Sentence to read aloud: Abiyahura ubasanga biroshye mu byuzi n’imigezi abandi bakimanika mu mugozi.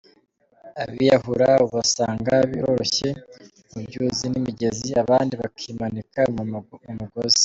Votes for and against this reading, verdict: 1, 2, rejected